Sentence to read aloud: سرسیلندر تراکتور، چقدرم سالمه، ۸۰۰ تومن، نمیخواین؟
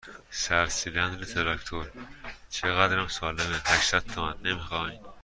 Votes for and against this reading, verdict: 0, 2, rejected